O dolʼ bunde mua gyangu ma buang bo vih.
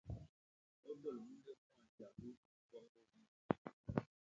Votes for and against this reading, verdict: 0, 2, rejected